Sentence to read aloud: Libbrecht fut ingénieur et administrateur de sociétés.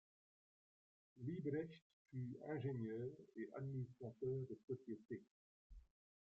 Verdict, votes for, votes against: rejected, 0, 2